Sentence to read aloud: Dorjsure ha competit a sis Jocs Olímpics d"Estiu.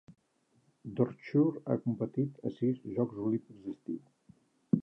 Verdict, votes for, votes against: rejected, 0, 3